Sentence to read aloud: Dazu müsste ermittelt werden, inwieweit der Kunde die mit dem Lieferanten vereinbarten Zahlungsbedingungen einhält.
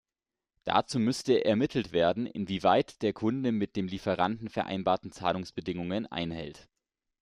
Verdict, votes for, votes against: rejected, 0, 2